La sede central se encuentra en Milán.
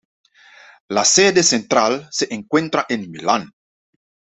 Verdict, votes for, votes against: accepted, 2, 0